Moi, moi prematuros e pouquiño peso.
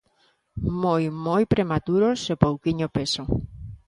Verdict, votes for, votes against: accepted, 2, 0